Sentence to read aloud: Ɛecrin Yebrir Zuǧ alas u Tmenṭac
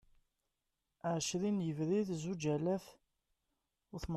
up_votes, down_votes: 0, 2